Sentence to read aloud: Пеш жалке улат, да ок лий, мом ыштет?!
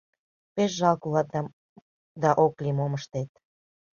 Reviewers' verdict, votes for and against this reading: rejected, 1, 2